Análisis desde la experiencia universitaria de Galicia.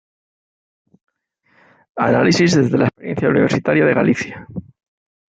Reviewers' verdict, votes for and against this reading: rejected, 0, 2